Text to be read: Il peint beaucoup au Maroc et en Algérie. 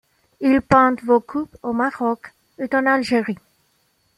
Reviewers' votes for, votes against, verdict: 1, 2, rejected